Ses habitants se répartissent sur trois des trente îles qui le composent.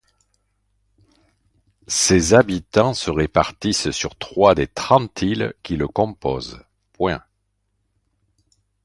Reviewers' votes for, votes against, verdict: 0, 2, rejected